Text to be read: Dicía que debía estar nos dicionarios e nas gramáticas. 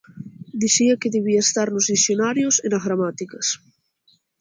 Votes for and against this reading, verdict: 2, 0, accepted